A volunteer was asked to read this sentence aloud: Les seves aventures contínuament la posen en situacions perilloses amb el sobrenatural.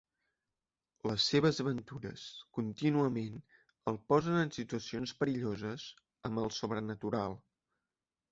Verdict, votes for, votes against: rejected, 1, 2